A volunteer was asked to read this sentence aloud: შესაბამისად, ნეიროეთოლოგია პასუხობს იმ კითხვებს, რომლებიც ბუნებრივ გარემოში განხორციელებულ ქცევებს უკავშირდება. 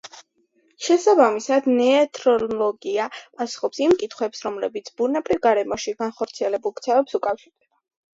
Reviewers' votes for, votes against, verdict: 0, 2, rejected